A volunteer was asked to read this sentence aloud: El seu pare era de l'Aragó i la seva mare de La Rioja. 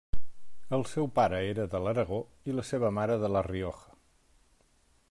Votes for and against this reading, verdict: 3, 0, accepted